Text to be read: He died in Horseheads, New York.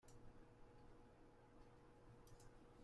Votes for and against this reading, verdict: 0, 2, rejected